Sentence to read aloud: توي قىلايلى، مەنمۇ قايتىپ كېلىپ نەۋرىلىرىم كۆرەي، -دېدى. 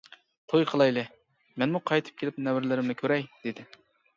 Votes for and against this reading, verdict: 0, 2, rejected